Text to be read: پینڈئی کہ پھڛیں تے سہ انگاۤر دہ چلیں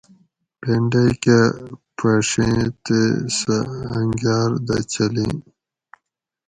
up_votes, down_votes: 2, 0